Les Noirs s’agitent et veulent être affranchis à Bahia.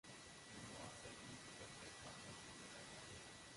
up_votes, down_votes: 0, 2